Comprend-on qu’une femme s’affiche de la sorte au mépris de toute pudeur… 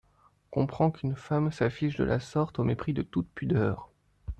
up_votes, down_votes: 1, 2